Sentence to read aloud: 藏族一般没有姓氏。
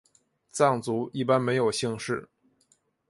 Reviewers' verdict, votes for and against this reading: accepted, 4, 2